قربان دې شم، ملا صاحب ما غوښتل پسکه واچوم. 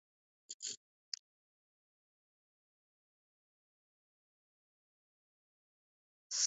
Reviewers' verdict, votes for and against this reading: rejected, 0, 2